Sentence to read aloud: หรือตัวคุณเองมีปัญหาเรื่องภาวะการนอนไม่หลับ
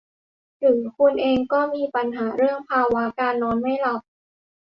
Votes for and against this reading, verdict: 0, 2, rejected